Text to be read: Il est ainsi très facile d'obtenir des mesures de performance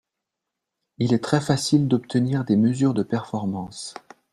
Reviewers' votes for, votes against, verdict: 1, 2, rejected